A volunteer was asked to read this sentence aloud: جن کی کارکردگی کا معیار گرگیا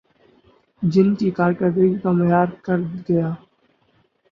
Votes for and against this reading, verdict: 6, 8, rejected